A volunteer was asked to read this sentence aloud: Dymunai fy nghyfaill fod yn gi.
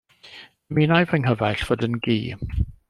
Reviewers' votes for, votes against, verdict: 0, 2, rejected